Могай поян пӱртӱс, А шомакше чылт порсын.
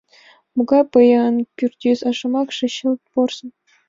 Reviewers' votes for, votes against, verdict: 2, 0, accepted